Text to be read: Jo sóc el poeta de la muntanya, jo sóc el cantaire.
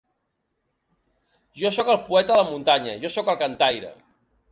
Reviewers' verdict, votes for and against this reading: rejected, 0, 2